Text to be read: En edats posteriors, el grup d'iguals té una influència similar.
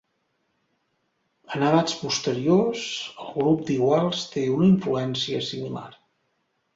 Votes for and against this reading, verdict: 2, 0, accepted